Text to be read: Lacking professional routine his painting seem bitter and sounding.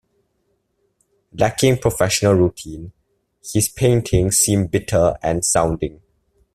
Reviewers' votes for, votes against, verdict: 2, 0, accepted